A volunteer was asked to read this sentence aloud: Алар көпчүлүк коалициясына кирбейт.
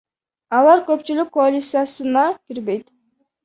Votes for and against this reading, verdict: 0, 2, rejected